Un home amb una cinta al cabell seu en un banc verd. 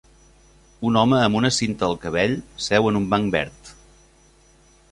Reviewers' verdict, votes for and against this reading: accepted, 3, 0